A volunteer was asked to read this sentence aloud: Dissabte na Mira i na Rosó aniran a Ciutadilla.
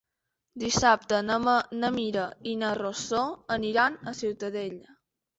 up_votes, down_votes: 0, 2